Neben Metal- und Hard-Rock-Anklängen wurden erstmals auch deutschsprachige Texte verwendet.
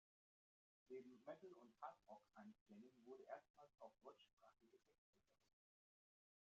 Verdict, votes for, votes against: rejected, 0, 2